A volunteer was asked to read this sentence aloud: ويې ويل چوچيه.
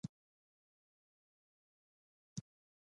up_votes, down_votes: 0, 2